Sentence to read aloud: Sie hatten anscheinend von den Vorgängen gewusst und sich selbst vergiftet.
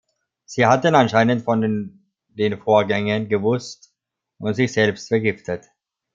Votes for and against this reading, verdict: 1, 2, rejected